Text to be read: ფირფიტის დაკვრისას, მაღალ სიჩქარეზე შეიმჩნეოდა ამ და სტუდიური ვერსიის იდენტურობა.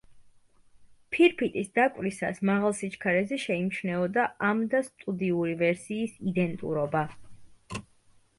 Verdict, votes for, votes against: accepted, 2, 0